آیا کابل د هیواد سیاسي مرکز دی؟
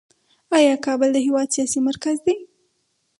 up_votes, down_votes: 2, 2